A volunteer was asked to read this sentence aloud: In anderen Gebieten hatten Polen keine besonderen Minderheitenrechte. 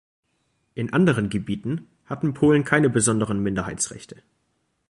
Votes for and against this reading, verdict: 0, 2, rejected